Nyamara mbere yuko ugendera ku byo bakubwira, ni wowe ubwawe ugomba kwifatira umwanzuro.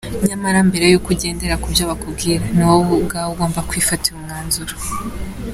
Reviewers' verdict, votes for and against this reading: accepted, 2, 0